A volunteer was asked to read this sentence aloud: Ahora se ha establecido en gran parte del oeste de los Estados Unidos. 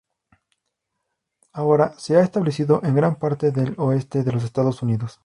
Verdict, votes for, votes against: accepted, 2, 0